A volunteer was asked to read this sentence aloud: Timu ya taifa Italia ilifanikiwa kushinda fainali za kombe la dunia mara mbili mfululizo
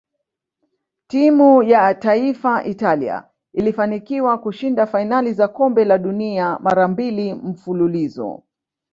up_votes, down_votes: 2, 0